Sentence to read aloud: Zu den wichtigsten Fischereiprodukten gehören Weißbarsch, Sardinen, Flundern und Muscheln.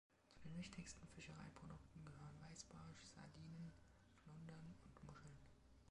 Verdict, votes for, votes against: rejected, 2, 3